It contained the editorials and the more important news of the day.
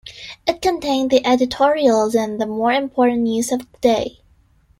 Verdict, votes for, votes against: accepted, 2, 0